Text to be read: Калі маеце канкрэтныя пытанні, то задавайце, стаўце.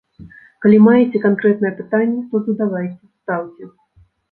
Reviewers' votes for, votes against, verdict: 1, 2, rejected